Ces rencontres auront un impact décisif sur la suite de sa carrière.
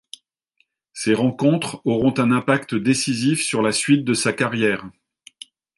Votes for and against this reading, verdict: 2, 0, accepted